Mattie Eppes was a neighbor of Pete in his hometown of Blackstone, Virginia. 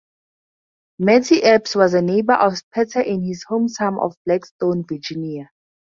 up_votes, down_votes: 4, 2